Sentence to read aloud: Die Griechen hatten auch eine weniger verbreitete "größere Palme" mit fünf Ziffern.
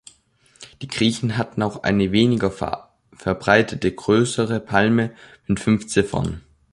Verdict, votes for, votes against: rejected, 0, 3